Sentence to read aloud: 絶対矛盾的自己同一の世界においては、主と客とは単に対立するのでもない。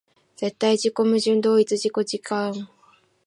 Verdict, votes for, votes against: rejected, 0, 2